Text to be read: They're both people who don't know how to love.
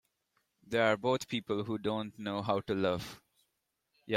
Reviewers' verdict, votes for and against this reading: rejected, 1, 2